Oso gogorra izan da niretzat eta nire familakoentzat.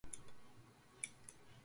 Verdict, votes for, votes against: rejected, 0, 2